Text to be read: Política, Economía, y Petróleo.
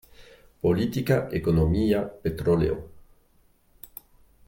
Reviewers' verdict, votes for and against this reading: rejected, 0, 2